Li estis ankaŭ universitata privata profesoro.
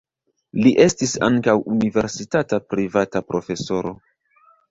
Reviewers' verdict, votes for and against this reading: rejected, 0, 2